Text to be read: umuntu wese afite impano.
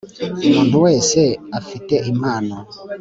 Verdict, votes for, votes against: accepted, 2, 0